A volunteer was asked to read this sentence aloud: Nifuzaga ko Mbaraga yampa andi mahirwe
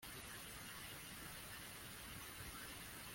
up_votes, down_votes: 1, 2